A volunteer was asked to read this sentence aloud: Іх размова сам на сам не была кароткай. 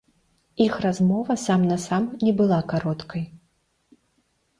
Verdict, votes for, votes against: rejected, 1, 2